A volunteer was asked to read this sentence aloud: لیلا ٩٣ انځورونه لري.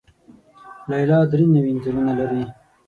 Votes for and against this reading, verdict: 0, 2, rejected